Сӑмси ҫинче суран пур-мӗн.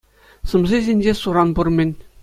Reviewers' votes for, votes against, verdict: 2, 1, accepted